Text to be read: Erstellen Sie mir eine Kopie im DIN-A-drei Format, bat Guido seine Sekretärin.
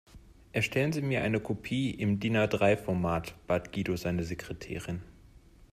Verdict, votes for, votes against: accepted, 2, 0